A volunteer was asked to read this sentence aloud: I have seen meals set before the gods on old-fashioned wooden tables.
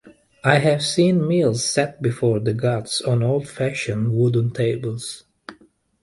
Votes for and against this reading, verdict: 2, 1, accepted